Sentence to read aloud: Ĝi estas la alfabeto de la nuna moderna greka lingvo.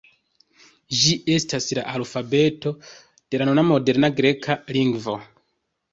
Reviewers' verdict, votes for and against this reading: rejected, 1, 2